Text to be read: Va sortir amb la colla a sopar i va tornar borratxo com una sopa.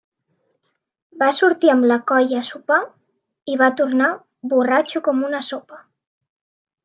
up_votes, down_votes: 3, 0